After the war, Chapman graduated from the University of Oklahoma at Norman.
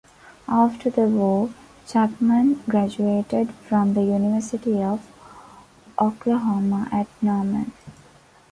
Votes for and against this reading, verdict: 2, 1, accepted